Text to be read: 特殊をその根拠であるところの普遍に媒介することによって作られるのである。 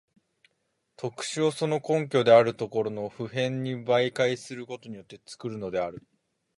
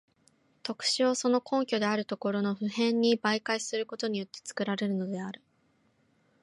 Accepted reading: second